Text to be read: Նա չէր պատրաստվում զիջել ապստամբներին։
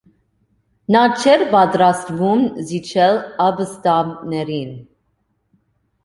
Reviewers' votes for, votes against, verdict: 2, 1, accepted